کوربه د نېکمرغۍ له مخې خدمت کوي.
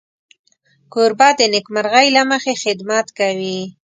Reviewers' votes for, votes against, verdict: 2, 0, accepted